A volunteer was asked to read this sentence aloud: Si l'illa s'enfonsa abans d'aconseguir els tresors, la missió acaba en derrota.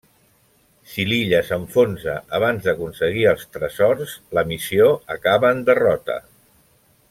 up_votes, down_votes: 2, 1